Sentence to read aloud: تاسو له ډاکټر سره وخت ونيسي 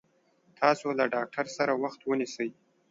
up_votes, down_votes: 2, 0